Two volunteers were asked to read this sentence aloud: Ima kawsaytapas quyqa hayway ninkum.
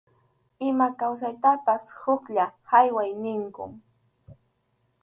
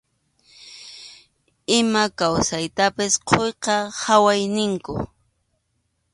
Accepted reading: second